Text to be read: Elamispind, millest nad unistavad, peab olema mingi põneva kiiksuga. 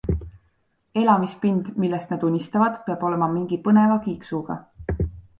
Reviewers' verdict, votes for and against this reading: accepted, 2, 0